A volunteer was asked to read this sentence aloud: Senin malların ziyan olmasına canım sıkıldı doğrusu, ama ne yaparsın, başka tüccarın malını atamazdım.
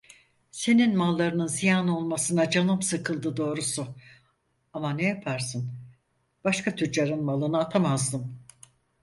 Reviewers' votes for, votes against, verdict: 2, 4, rejected